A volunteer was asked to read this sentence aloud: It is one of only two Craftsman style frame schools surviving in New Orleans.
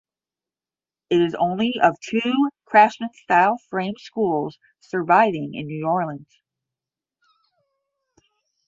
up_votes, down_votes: 10, 20